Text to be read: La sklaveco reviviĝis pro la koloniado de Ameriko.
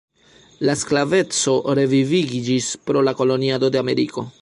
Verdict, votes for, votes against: rejected, 0, 2